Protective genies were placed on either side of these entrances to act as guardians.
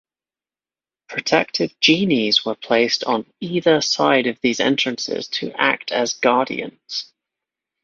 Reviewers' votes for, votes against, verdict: 2, 0, accepted